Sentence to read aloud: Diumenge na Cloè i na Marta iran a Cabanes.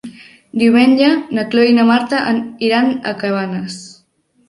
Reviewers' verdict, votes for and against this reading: rejected, 1, 2